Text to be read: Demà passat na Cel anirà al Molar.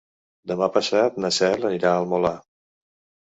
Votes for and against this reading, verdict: 2, 0, accepted